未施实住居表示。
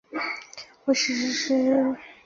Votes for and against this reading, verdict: 0, 2, rejected